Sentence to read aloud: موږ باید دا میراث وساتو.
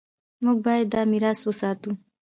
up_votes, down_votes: 2, 0